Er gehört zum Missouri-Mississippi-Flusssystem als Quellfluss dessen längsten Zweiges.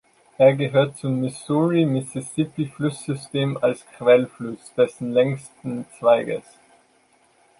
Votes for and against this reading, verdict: 2, 0, accepted